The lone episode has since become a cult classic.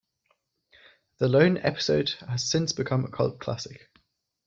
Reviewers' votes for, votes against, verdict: 2, 0, accepted